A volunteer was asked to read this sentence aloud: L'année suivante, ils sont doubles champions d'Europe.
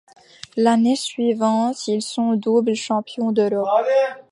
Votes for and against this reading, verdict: 2, 1, accepted